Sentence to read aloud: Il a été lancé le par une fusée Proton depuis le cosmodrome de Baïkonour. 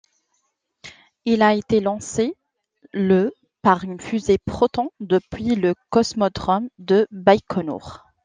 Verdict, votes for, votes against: accepted, 2, 0